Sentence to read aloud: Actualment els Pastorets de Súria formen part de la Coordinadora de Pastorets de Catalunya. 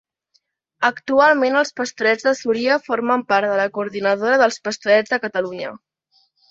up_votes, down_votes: 1, 2